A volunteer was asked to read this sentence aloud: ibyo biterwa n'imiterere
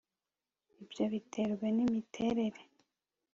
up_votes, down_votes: 3, 0